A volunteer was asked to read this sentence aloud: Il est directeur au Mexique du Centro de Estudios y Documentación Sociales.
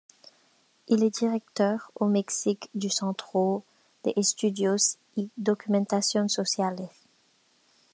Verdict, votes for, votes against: rejected, 1, 2